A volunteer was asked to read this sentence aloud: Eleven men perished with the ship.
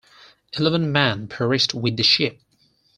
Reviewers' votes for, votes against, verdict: 4, 0, accepted